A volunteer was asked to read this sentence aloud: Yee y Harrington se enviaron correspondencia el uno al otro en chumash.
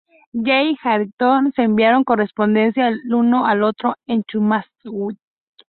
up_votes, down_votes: 0, 2